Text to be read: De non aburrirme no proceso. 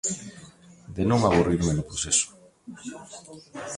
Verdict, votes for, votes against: accepted, 2, 0